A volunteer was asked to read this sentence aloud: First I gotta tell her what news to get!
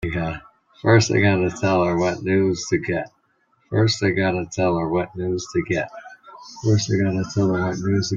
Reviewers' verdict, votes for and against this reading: rejected, 0, 2